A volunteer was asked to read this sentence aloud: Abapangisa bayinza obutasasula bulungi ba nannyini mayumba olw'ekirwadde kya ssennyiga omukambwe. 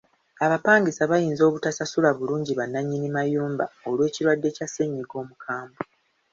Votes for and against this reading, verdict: 2, 0, accepted